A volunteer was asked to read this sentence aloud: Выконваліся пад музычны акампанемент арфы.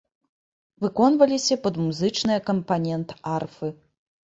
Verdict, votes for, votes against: rejected, 1, 2